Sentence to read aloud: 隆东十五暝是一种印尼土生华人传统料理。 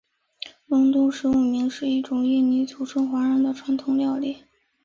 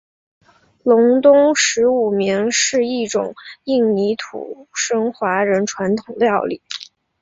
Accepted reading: second